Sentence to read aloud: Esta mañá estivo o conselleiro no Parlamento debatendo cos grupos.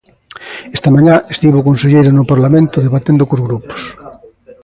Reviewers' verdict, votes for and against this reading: accepted, 2, 0